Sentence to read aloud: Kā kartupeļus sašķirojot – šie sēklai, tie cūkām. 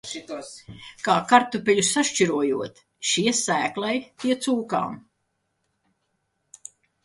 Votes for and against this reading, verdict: 1, 2, rejected